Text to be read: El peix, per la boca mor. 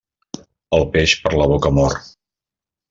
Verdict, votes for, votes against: accepted, 2, 0